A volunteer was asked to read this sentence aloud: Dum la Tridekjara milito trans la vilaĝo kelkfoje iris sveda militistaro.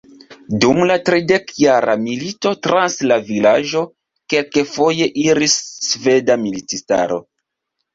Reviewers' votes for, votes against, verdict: 1, 2, rejected